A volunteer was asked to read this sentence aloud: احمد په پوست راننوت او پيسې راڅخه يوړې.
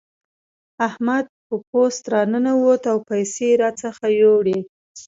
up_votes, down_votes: 2, 0